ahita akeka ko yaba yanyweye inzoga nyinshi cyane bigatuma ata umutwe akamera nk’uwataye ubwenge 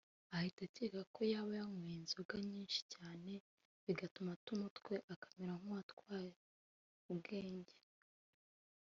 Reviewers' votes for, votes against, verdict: 1, 2, rejected